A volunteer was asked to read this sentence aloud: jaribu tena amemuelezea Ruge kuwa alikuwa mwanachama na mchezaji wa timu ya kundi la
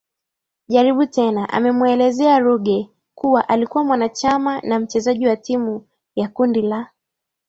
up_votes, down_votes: 0, 2